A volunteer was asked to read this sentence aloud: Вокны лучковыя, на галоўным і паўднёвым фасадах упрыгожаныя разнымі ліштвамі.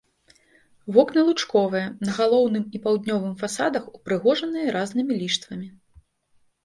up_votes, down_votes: 1, 2